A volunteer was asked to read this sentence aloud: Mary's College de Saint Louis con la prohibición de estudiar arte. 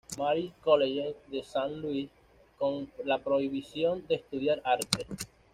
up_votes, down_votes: 2, 1